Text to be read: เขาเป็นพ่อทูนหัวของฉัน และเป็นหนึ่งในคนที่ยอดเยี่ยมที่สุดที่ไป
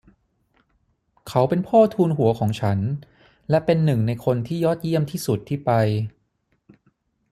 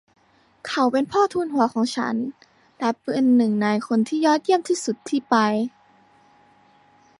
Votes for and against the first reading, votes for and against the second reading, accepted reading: 6, 0, 0, 2, first